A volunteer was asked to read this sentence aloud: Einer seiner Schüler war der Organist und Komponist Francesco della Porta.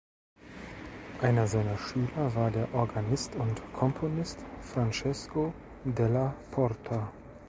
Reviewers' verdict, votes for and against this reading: accepted, 2, 0